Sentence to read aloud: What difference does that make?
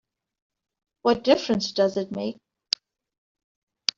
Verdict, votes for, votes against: rejected, 0, 3